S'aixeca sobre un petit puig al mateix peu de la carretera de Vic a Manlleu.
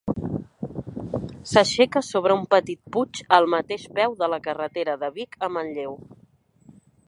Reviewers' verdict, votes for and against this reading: accepted, 4, 0